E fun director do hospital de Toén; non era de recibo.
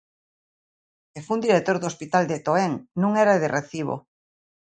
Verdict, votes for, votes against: accepted, 2, 0